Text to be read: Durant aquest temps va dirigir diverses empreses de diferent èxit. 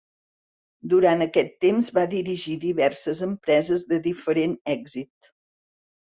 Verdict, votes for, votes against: accepted, 4, 0